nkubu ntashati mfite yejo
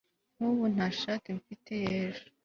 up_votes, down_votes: 3, 0